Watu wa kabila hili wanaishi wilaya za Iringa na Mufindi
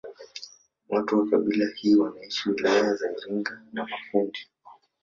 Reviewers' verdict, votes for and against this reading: rejected, 1, 2